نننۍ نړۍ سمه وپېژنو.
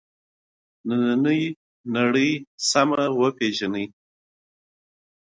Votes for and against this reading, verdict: 0, 2, rejected